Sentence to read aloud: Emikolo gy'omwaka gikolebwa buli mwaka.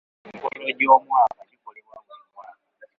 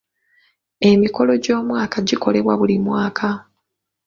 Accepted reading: second